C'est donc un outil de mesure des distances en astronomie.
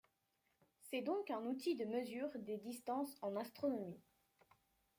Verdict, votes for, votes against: accepted, 2, 0